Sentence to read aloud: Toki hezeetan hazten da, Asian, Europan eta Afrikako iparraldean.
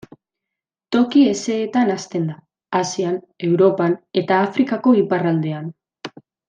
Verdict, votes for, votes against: accepted, 2, 0